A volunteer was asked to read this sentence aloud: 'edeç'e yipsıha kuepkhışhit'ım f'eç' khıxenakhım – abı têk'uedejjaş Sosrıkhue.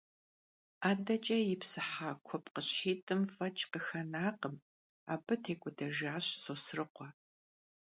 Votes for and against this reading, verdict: 2, 0, accepted